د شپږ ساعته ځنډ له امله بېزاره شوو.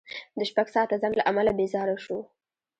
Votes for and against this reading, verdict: 2, 0, accepted